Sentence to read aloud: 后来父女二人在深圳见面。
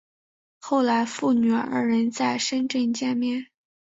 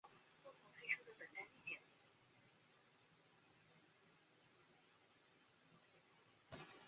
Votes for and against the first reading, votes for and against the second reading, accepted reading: 2, 0, 1, 4, first